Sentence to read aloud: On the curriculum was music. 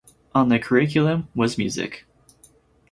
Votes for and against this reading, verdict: 4, 0, accepted